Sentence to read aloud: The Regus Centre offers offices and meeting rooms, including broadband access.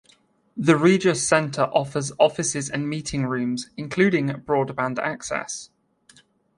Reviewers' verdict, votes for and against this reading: rejected, 1, 2